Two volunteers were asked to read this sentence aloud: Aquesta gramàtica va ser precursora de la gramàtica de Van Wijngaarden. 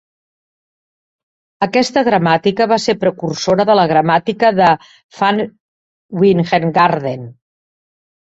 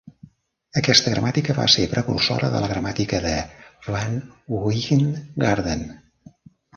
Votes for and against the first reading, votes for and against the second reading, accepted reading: 3, 0, 0, 2, first